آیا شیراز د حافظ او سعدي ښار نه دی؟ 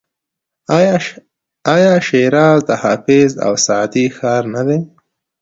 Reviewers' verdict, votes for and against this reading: accepted, 2, 0